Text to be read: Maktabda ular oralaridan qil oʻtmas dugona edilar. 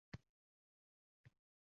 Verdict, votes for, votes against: rejected, 0, 2